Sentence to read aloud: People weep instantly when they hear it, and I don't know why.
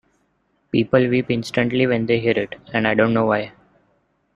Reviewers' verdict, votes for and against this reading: accepted, 2, 0